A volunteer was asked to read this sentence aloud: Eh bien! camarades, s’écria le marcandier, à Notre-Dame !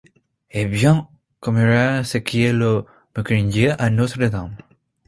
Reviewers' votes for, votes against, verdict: 1, 2, rejected